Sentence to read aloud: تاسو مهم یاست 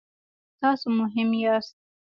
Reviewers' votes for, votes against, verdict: 0, 2, rejected